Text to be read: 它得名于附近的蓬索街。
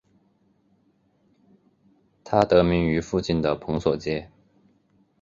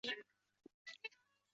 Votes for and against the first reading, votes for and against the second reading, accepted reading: 2, 1, 0, 2, first